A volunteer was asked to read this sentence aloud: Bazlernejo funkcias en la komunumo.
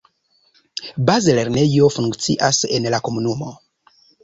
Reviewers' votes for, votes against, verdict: 2, 0, accepted